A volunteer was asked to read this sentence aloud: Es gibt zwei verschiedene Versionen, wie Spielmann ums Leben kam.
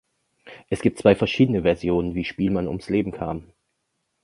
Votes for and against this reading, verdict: 2, 0, accepted